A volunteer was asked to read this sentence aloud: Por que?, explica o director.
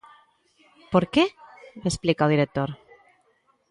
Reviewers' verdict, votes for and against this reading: accepted, 2, 0